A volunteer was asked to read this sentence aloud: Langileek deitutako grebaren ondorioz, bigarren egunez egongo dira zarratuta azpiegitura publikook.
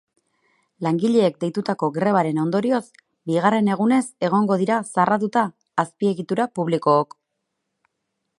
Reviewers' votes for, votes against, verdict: 6, 0, accepted